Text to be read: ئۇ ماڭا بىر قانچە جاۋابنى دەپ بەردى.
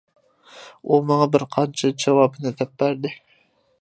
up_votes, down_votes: 2, 0